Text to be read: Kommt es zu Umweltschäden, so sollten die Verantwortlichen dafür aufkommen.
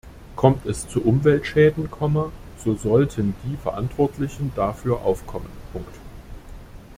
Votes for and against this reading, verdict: 0, 2, rejected